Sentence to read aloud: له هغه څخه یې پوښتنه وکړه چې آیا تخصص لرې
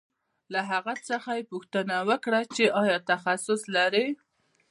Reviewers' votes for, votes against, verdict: 2, 0, accepted